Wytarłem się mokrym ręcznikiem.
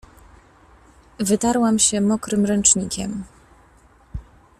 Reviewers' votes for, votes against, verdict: 1, 2, rejected